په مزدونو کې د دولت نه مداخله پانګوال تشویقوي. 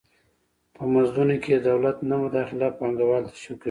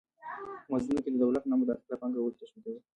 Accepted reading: first